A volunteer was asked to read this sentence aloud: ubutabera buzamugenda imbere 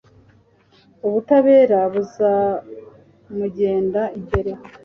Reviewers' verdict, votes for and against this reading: accepted, 2, 0